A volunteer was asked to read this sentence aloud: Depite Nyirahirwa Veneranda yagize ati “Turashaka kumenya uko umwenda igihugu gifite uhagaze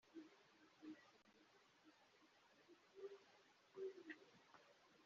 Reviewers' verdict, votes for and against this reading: rejected, 0, 2